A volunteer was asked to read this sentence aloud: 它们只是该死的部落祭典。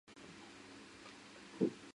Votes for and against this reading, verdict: 0, 2, rejected